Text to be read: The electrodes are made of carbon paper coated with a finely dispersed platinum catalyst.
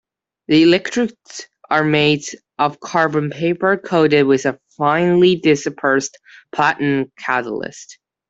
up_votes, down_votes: 2, 0